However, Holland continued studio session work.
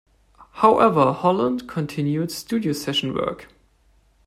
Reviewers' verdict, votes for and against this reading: accepted, 2, 0